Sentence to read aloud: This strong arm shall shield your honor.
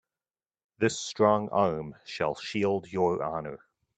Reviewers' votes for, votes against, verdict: 2, 1, accepted